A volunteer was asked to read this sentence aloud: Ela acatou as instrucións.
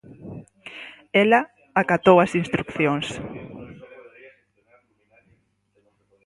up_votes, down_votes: 0, 4